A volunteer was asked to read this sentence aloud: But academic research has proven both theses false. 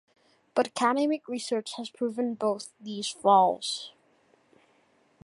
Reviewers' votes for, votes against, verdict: 1, 2, rejected